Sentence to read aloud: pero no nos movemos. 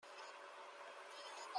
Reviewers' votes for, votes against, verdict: 0, 2, rejected